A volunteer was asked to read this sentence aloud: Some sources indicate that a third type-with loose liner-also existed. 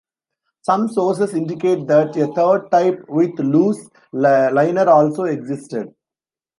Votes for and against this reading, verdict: 0, 2, rejected